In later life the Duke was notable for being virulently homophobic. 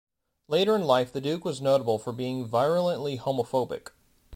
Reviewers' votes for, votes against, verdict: 1, 2, rejected